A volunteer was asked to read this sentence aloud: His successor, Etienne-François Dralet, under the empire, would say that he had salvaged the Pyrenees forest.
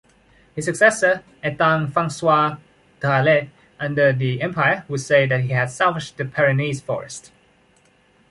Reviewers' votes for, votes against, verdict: 2, 0, accepted